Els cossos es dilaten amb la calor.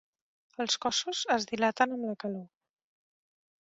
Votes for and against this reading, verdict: 1, 2, rejected